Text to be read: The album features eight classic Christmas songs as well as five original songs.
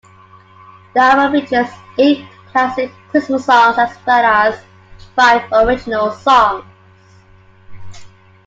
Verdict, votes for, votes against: accepted, 2, 1